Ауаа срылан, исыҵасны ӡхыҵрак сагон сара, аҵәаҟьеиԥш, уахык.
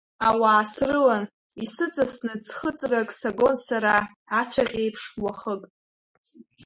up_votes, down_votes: 2, 0